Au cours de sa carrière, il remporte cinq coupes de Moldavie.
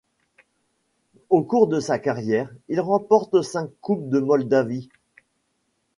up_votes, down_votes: 2, 0